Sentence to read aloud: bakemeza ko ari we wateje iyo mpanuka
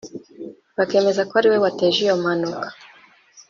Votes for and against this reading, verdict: 2, 0, accepted